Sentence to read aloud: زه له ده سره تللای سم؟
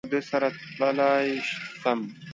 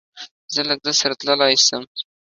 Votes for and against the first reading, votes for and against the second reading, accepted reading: 1, 2, 2, 0, second